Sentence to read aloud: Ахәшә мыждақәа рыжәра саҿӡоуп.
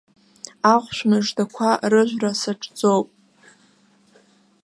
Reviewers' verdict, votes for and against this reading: accepted, 2, 0